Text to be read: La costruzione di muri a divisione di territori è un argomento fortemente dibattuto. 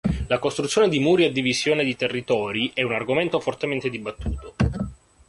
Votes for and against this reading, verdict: 2, 0, accepted